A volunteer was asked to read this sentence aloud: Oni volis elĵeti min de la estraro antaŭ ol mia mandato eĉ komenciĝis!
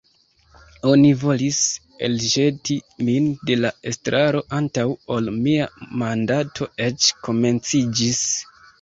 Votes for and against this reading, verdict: 2, 1, accepted